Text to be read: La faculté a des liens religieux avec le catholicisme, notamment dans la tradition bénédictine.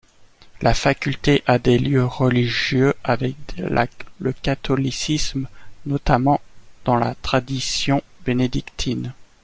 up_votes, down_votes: 1, 2